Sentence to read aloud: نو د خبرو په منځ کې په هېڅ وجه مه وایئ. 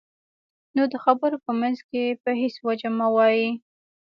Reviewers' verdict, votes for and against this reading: rejected, 0, 2